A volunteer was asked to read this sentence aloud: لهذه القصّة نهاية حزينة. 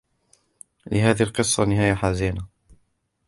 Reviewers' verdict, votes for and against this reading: accepted, 2, 1